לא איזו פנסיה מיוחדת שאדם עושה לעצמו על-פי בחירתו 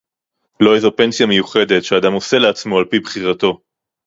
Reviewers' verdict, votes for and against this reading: accepted, 2, 0